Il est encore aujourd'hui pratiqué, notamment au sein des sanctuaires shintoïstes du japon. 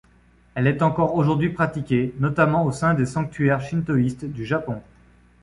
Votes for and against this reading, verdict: 1, 2, rejected